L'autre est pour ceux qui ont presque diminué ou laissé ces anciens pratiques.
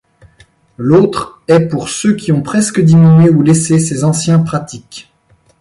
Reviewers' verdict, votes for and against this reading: accepted, 2, 0